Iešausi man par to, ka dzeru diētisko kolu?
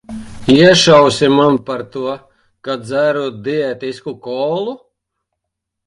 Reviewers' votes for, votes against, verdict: 1, 2, rejected